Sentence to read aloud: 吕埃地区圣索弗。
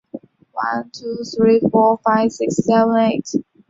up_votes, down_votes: 0, 2